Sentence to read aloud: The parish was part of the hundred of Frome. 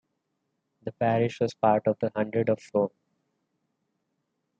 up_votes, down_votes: 0, 2